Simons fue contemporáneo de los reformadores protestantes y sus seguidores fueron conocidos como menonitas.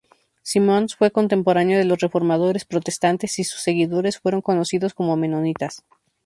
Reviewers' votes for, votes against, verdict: 4, 0, accepted